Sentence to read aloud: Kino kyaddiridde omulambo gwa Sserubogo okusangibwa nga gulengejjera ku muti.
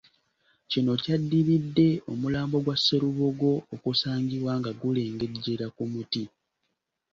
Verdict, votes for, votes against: accepted, 2, 0